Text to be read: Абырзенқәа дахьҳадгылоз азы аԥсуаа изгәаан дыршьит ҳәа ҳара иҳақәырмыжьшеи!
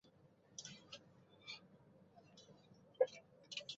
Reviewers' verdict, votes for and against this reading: rejected, 1, 2